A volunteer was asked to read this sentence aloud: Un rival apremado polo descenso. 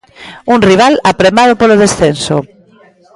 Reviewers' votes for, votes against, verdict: 0, 2, rejected